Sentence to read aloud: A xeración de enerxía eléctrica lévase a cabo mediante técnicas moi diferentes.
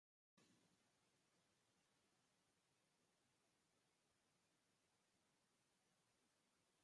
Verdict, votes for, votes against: rejected, 0, 4